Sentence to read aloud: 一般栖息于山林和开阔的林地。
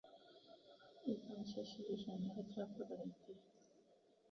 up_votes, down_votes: 0, 2